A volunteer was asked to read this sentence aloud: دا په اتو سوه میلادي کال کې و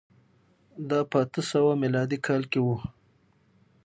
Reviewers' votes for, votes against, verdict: 6, 0, accepted